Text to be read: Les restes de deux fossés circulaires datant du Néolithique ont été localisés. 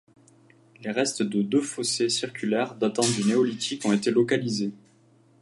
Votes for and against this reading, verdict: 2, 0, accepted